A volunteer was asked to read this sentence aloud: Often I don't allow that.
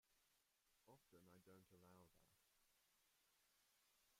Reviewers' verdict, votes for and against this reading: rejected, 0, 2